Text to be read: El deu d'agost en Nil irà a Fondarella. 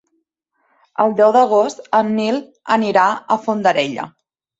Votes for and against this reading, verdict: 1, 2, rejected